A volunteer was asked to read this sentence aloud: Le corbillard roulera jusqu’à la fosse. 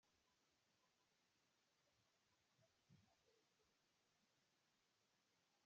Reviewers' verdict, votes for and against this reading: rejected, 0, 2